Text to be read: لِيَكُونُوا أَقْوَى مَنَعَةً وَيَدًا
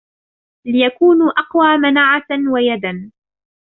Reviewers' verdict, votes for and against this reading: rejected, 1, 2